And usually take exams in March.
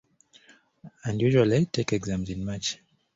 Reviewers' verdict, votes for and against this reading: accepted, 2, 0